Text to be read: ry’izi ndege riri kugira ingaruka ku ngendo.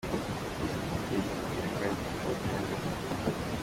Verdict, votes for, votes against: rejected, 0, 2